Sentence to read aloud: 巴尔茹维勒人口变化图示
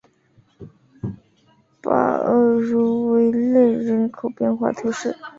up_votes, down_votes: 3, 1